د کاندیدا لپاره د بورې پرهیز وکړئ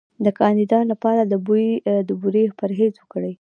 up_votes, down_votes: 2, 0